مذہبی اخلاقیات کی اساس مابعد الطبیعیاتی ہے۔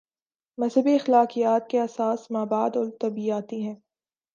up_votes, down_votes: 3, 0